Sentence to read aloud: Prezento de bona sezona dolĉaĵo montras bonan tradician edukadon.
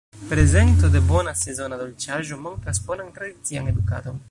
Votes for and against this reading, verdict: 1, 2, rejected